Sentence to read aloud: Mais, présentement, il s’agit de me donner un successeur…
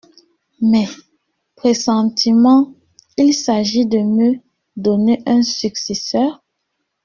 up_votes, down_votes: 1, 2